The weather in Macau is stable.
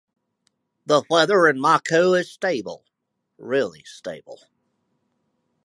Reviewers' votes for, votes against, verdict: 0, 4, rejected